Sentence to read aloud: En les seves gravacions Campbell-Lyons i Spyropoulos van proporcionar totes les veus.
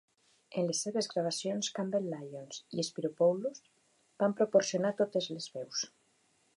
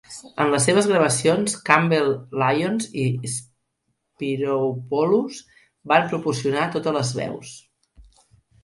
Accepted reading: first